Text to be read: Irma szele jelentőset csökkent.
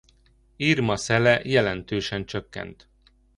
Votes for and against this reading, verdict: 2, 1, accepted